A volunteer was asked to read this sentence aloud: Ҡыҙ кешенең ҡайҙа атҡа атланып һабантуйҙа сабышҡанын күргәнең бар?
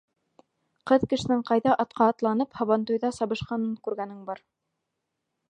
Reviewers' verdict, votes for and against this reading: rejected, 1, 2